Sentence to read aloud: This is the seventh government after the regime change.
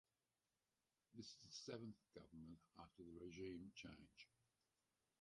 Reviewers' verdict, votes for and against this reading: rejected, 0, 4